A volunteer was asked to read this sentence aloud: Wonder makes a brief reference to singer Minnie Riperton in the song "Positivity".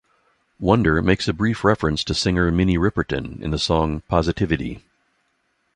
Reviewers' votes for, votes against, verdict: 2, 0, accepted